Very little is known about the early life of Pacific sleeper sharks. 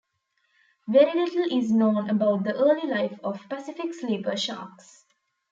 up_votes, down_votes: 2, 0